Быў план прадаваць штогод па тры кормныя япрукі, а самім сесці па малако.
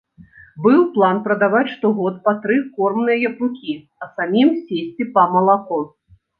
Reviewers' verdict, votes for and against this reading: accepted, 2, 0